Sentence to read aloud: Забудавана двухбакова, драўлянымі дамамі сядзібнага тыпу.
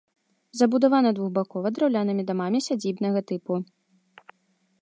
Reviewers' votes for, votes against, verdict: 4, 0, accepted